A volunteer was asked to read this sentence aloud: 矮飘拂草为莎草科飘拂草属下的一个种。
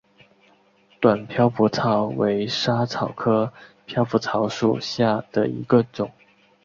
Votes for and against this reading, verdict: 3, 0, accepted